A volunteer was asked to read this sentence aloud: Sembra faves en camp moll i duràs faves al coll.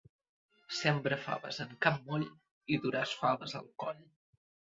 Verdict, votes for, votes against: rejected, 1, 2